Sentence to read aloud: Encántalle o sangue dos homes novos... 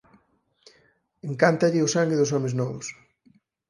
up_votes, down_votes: 8, 2